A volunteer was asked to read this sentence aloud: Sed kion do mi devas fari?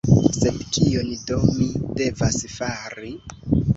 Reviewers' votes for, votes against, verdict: 0, 2, rejected